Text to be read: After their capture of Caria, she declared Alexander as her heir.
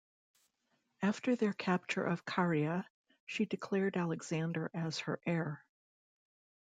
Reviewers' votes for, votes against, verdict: 2, 0, accepted